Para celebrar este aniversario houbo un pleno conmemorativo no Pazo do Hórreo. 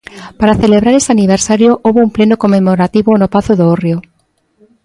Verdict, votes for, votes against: rejected, 1, 2